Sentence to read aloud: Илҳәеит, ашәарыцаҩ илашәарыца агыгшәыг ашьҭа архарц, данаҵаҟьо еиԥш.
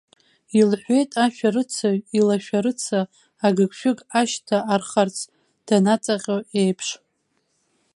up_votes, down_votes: 2, 0